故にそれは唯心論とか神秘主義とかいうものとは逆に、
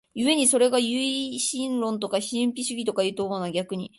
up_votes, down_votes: 2, 1